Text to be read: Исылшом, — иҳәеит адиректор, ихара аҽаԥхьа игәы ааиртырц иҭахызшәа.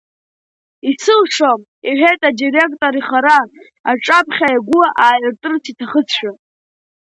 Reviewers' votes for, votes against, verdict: 2, 0, accepted